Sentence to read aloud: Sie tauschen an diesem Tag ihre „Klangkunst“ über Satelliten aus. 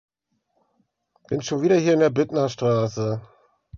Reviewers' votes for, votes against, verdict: 0, 2, rejected